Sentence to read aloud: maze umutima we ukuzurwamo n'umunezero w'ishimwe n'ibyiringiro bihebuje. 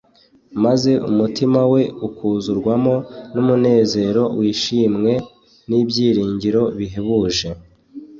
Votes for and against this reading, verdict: 2, 0, accepted